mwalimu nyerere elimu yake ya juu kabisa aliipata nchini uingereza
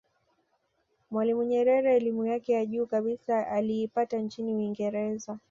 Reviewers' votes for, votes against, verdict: 2, 0, accepted